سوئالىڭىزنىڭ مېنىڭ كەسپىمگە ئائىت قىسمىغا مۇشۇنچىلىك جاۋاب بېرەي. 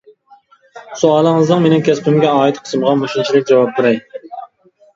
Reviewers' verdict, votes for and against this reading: rejected, 1, 2